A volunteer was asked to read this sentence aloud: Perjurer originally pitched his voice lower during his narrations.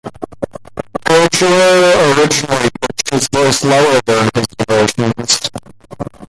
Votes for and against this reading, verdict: 0, 2, rejected